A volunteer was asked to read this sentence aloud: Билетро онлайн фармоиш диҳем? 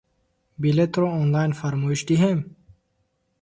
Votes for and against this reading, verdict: 2, 1, accepted